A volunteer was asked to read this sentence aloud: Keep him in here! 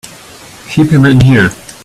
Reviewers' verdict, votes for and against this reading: rejected, 0, 2